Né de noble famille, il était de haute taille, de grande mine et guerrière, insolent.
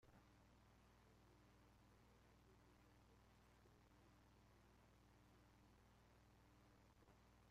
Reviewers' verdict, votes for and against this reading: rejected, 0, 2